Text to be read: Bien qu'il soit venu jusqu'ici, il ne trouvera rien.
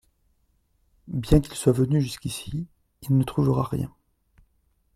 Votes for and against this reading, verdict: 2, 0, accepted